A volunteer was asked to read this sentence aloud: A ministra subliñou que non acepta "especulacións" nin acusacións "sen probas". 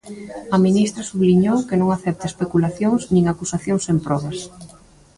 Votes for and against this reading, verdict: 2, 0, accepted